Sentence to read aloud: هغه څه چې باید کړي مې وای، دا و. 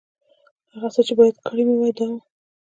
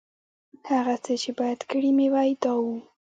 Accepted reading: first